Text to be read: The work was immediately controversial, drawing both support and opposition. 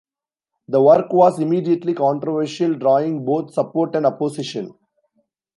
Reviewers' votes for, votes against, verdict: 2, 0, accepted